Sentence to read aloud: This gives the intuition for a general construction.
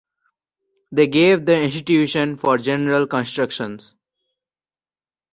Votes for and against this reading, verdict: 0, 2, rejected